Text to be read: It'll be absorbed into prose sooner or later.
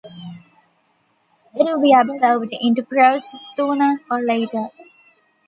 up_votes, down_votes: 2, 0